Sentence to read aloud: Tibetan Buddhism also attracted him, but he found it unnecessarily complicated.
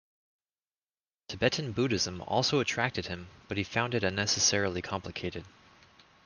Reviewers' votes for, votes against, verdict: 2, 0, accepted